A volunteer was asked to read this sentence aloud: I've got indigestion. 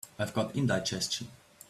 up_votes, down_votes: 3, 0